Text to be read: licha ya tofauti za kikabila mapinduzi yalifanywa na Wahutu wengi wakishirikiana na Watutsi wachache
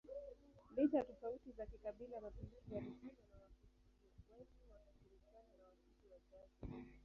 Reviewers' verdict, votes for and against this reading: rejected, 1, 2